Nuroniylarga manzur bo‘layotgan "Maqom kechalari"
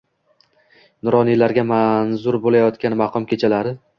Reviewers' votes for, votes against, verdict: 2, 0, accepted